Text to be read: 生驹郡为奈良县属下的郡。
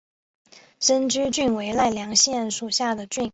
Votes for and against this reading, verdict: 2, 0, accepted